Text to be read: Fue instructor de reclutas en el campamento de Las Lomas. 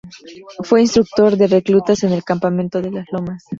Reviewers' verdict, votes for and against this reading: accepted, 2, 0